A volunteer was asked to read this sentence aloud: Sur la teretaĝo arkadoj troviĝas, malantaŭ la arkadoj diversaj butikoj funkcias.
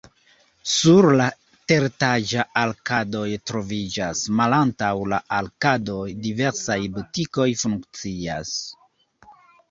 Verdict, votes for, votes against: rejected, 1, 2